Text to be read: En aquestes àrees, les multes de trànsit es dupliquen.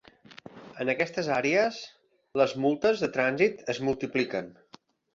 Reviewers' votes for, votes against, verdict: 1, 2, rejected